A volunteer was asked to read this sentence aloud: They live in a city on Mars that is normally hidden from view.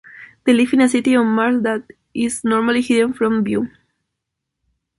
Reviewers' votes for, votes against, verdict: 0, 2, rejected